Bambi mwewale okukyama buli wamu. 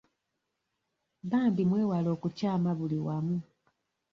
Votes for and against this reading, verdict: 2, 0, accepted